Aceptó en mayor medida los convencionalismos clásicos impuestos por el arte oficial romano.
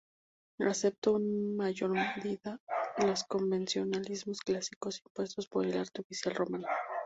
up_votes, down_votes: 0, 2